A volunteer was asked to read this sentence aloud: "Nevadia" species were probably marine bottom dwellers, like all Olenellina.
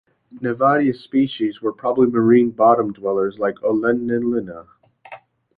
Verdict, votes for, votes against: rejected, 0, 2